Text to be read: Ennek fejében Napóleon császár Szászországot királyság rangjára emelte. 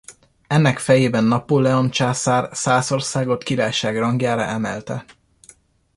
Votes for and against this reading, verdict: 2, 0, accepted